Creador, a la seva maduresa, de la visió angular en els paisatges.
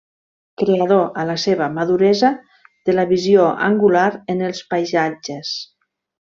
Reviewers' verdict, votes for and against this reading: accepted, 2, 0